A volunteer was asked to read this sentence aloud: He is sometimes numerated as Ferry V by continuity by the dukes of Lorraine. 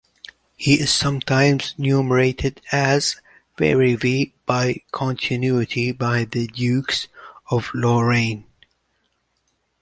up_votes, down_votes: 2, 1